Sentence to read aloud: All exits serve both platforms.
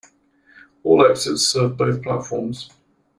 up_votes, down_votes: 1, 2